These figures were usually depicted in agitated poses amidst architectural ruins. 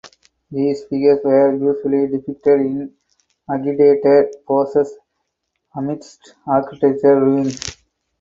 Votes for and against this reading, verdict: 0, 4, rejected